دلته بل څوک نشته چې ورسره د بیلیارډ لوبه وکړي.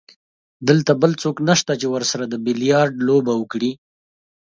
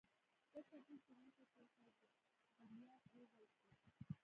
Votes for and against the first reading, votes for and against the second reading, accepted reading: 2, 0, 1, 2, first